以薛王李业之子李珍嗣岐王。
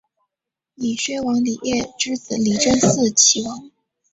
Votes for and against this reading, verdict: 2, 0, accepted